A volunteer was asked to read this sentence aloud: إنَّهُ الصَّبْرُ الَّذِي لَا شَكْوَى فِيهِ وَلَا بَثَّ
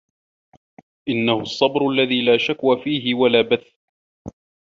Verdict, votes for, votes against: accepted, 2, 0